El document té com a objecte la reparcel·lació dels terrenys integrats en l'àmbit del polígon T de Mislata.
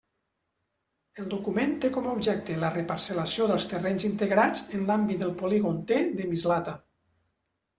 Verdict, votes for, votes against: accepted, 2, 0